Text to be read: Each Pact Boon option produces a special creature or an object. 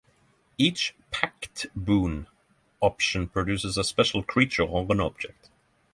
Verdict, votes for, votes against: accepted, 9, 0